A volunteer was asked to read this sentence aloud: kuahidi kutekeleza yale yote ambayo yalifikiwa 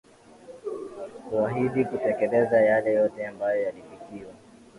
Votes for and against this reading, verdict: 2, 1, accepted